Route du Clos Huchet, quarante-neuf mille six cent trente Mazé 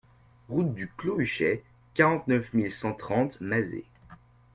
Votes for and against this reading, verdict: 0, 2, rejected